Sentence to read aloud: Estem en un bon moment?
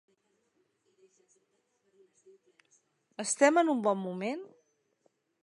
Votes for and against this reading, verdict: 3, 0, accepted